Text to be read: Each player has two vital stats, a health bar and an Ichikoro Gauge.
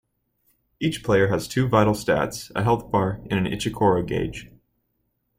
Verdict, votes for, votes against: accepted, 2, 0